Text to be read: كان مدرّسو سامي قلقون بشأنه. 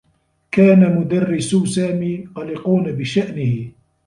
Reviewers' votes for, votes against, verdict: 1, 2, rejected